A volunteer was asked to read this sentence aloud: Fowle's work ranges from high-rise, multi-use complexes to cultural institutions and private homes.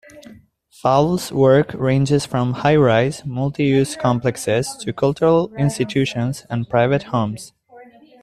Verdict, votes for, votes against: accepted, 2, 1